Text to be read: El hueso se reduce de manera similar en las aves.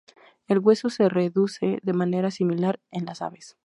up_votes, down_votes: 2, 0